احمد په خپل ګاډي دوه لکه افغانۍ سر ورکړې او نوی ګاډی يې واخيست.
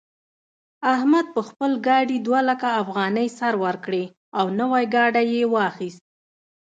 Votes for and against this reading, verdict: 0, 2, rejected